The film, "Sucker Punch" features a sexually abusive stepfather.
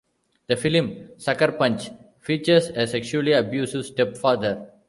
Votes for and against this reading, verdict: 2, 0, accepted